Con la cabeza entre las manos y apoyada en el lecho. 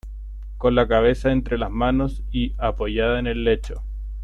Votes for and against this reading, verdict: 2, 0, accepted